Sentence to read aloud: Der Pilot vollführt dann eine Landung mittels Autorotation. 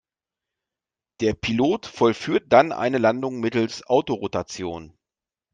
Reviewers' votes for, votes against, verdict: 2, 0, accepted